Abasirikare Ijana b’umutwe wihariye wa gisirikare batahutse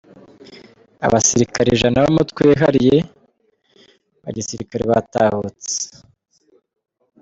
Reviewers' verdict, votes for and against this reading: rejected, 0, 2